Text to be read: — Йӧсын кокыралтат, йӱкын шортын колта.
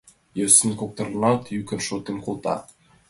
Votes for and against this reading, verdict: 1, 2, rejected